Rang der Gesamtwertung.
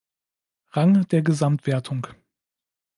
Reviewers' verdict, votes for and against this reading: accepted, 2, 0